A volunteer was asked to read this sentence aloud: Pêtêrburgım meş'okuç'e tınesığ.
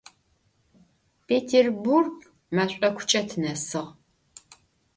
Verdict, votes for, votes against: rejected, 1, 2